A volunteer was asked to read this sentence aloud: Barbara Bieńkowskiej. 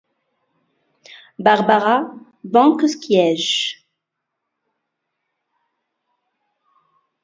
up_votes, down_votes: 2, 0